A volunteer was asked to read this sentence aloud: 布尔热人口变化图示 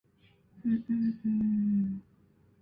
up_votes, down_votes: 0, 2